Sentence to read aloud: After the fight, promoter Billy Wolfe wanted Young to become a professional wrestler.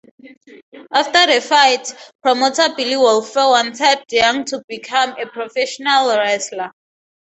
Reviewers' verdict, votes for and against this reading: accepted, 4, 0